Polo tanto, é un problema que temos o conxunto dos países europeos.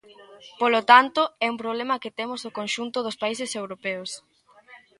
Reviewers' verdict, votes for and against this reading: rejected, 1, 2